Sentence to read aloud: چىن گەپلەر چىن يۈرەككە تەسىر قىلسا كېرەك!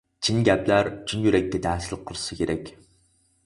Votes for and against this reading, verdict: 0, 4, rejected